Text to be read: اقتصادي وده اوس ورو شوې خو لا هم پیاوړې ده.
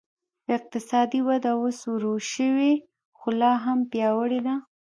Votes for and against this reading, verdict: 2, 0, accepted